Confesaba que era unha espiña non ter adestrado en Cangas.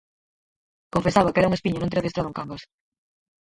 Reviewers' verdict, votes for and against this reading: rejected, 0, 4